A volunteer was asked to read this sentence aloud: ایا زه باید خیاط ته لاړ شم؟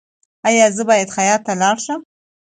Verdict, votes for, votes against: accepted, 2, 0